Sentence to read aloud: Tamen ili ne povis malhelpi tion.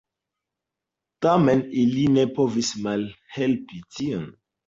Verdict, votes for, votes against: accepted, 2, 0